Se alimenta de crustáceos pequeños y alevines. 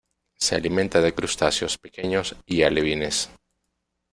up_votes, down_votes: 2, 0